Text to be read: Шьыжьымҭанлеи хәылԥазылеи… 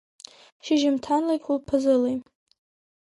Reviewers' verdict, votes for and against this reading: accepted, 2, 0